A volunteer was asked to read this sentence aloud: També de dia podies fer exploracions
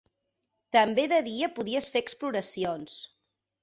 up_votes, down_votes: 3, 0